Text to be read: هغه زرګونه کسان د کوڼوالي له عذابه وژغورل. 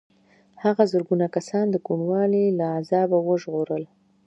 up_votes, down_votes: 2, 0